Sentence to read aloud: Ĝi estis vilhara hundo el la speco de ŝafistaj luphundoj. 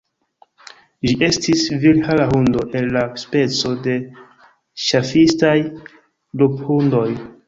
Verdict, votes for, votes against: rejected, 1, 2